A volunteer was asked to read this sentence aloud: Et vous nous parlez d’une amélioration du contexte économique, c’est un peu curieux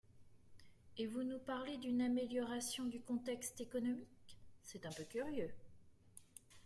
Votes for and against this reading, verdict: 2, 1, accepted